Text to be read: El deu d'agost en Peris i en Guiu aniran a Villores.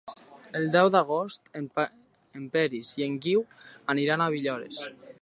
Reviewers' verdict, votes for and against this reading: rejected, 0, 2